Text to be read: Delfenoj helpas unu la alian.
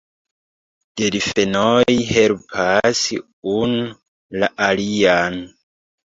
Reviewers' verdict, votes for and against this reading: rejected, 1, 2